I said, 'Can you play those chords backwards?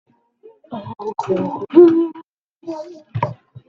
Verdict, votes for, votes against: rejected, 0, 2